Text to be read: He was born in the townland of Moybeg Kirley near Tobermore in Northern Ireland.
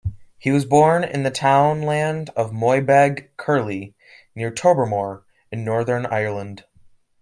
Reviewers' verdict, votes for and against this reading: accepted, 2, 0